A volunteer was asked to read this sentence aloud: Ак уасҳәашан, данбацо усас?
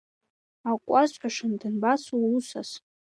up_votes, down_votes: 2, 0